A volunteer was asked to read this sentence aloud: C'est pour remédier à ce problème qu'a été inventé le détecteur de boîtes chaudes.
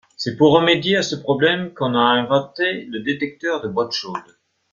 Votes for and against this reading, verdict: 0, 2, rejected